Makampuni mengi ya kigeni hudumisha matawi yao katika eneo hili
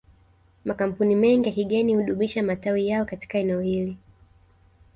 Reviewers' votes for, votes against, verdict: 2, 0, accepted